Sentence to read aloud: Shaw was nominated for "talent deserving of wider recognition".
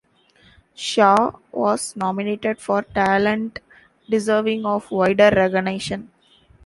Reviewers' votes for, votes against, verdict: 0, 2, rejected